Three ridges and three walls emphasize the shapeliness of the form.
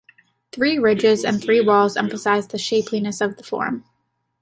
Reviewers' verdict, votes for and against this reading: accepted, 2, 0